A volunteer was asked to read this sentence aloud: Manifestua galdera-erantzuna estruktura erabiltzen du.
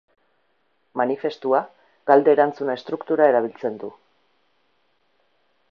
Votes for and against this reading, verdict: 2, 4, rejected